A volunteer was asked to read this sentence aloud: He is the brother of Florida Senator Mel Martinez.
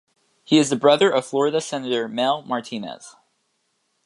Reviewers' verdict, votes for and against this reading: accepted, 2, 0